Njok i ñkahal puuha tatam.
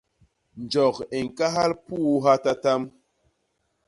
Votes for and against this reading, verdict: 2, 0, accepted